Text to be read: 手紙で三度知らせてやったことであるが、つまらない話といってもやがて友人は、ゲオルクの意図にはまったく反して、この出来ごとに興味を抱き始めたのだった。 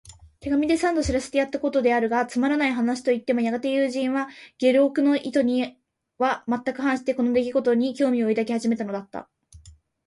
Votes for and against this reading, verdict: 2, 0, accepted